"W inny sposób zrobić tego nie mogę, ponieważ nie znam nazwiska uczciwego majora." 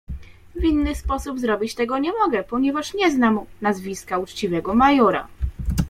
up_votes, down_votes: 0, 2